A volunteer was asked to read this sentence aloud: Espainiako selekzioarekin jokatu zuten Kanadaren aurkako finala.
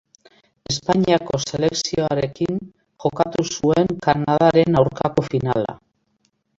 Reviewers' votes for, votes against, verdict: 2, 1, accepted